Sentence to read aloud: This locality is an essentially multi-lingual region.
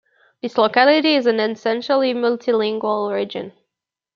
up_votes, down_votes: 1, 2